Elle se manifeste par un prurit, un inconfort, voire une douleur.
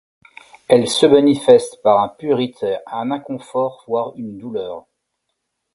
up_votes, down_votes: 1, 2